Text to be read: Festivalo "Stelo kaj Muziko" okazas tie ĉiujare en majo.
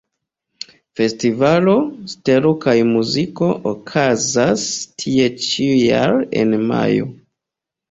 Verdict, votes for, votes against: accepted, 2, 1